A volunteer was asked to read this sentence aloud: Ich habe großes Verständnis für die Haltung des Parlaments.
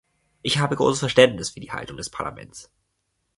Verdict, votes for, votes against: accepted, 3, 0